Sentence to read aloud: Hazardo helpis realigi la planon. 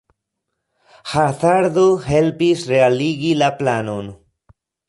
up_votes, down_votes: 0, 2